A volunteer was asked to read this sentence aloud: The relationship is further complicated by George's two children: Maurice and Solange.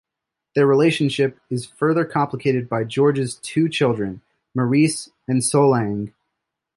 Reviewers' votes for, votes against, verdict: 2, 0, accepted